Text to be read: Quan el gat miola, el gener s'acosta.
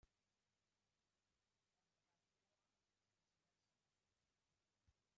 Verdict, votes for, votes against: rejected, 0, 2